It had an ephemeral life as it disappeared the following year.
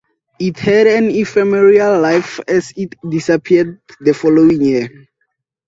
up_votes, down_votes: 4, 2